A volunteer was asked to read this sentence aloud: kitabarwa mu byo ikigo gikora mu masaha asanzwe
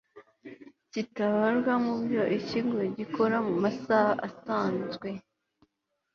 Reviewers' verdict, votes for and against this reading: accepted, 2, 0